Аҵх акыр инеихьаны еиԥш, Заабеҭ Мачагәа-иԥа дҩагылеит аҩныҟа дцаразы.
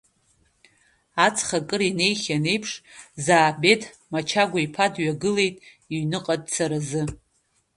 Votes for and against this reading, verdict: 0, 2, rejected